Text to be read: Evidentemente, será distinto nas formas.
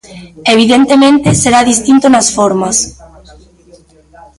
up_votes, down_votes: 2, 1